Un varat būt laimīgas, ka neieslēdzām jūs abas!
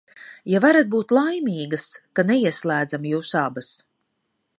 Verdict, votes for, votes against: rejected, 1, 2